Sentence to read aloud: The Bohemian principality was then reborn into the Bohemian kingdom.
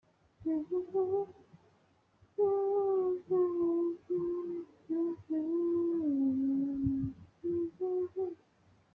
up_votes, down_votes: 0, 2